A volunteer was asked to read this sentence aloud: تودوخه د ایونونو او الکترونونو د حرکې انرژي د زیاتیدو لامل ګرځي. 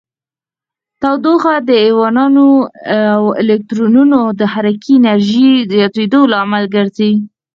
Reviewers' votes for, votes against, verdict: 2, 4, rejected